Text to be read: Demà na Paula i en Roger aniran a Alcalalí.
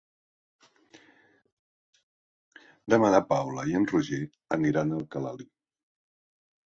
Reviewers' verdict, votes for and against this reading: accepted, 2, 0